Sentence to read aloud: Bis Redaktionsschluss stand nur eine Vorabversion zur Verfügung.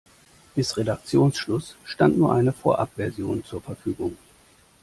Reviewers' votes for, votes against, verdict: 2, 0, accepted